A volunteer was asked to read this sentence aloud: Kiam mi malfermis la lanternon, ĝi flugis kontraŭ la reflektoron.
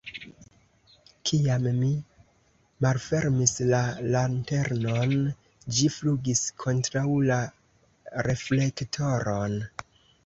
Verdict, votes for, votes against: rejected, 1, 2